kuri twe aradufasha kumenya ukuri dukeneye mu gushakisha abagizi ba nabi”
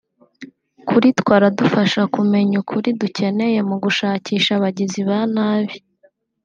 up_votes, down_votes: 2, 0